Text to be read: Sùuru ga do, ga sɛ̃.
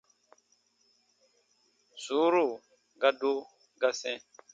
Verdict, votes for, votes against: accepted, 2, 0